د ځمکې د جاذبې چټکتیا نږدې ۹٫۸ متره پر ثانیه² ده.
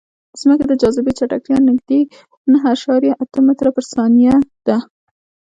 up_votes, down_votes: 0, 2